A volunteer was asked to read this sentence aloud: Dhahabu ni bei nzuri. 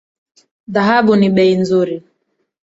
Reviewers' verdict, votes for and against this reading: rejected, 0, 2